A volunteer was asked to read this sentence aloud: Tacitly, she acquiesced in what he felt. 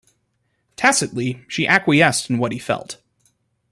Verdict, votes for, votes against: accepted, 3, 0